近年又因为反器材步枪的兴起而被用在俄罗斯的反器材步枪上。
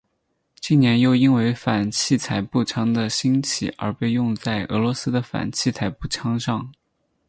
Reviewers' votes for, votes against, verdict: 2, 4, rejected